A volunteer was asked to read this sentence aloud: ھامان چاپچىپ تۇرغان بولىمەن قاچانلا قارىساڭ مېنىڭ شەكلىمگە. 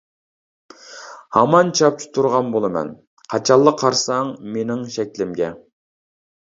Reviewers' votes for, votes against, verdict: 2, 1, accepted